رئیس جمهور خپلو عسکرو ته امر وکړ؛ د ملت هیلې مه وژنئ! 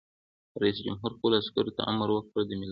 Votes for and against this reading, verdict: 2, 0, accepted